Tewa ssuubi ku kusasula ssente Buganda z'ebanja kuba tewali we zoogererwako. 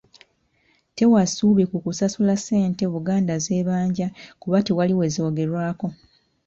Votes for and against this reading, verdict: 2, 0, accepted